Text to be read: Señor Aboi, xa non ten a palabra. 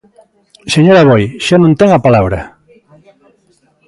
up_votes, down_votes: 2, 0